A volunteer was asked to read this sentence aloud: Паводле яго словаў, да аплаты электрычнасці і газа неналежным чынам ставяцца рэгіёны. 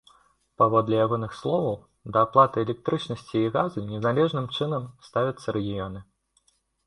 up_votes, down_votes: 0, 2